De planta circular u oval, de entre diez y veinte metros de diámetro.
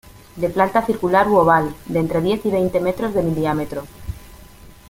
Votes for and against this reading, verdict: 0, 2, rejected